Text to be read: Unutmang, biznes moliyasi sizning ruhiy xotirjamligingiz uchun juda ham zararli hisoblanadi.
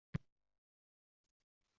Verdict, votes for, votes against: rejected, 0, 2